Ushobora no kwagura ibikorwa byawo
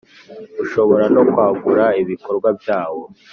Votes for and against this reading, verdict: 2, 0, accepted